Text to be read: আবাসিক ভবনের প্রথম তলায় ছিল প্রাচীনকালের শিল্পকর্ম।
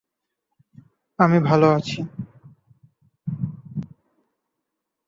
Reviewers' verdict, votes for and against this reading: rejected, 0, 2